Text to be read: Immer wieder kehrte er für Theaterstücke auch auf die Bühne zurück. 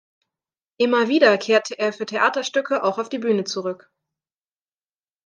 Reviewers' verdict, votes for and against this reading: accepted, 2, 0